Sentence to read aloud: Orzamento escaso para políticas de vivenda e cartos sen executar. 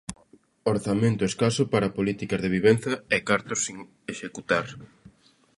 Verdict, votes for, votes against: rejected, 0, 2